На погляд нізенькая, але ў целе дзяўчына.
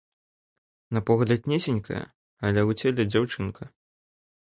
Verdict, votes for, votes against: rejected, 0, 2